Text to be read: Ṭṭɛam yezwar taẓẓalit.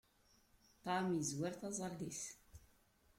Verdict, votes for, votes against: accepted, 2, 1